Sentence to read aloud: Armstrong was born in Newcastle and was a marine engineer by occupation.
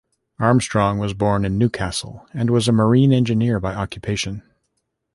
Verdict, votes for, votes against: accepted, 3, 0